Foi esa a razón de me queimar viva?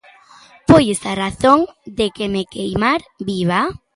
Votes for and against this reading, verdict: 0, 2, rejected